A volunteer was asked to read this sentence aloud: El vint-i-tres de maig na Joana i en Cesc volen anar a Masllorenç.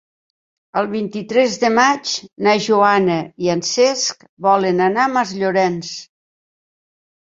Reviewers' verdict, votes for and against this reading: accepted, 3, 0